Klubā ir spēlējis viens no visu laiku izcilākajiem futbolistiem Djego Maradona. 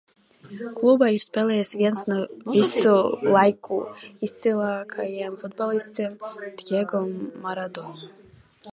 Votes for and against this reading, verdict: 0, 2, rejected